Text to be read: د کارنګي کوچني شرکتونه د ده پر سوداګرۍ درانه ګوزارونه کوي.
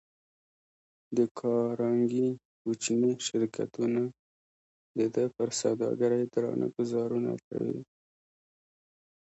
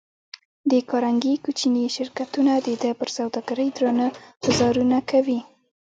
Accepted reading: first